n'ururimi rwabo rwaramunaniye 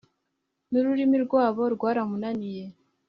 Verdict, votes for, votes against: accepted, 3, 0